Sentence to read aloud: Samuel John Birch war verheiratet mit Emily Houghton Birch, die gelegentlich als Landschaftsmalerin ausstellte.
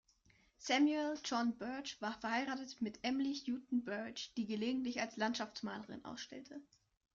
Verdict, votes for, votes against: accepted, 2, 0